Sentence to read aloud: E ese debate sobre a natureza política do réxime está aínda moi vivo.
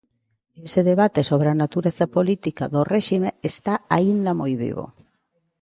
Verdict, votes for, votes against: rejected, 0, 2